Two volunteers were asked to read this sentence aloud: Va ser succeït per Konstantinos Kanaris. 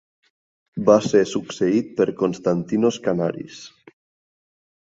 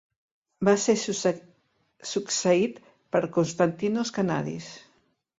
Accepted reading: first